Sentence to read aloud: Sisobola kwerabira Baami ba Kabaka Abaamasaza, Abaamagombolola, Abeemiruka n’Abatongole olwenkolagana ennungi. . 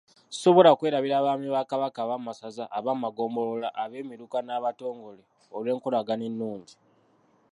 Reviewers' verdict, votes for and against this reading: rejected, 0, 2